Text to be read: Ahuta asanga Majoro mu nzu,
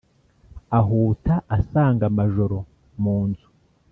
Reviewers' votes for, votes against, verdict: 2, 0, accepted